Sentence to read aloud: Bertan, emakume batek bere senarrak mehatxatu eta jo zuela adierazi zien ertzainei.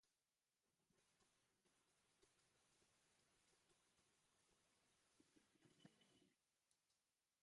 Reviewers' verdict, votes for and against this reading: rejected, 0, 4